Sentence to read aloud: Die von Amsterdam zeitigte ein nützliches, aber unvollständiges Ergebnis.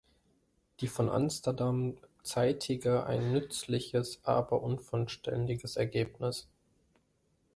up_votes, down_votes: 1, 2